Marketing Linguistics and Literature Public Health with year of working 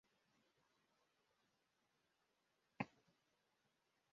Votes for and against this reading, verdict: 0, 2, rejected